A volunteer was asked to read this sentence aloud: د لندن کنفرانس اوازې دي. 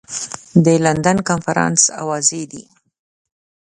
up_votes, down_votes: 2, 0